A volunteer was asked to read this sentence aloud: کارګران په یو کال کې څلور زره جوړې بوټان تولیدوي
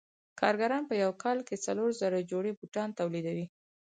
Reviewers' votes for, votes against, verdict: 4, 0, accepted